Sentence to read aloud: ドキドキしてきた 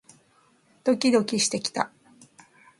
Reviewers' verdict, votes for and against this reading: accepted, 2, 0